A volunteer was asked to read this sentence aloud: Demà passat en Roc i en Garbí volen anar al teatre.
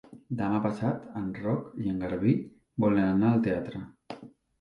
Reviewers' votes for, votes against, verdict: 2, 0, accepted